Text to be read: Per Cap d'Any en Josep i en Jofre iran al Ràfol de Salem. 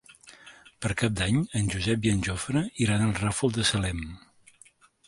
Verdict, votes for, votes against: accepted, 3, 0